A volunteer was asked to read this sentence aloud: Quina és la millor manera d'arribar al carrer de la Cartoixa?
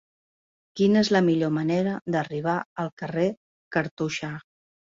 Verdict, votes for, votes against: rejected, 0, 2